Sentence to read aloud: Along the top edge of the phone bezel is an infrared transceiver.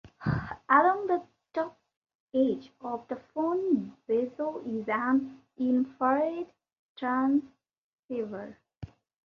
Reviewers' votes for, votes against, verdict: 2, 0, accepted